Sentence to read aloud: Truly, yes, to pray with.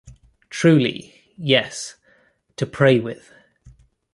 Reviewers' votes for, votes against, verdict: 2, 0, accepted